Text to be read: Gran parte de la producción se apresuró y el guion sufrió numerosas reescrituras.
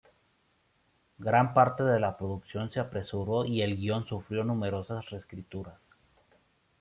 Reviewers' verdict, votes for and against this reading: accepted, 2, 0